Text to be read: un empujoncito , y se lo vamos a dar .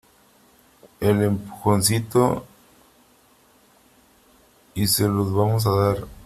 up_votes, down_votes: 0, 3